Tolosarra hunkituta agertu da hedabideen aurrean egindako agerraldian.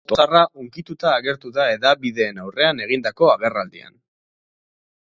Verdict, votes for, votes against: rejected, 4, 4